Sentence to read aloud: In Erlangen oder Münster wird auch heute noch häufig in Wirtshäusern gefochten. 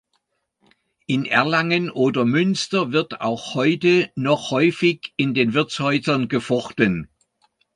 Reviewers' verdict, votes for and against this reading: rejected, 0, 2